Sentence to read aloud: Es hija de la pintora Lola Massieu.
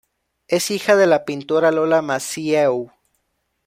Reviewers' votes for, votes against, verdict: 2, 1, accepted